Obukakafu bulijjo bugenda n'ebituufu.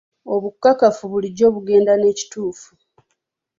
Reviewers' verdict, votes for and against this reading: rejected, 1, 3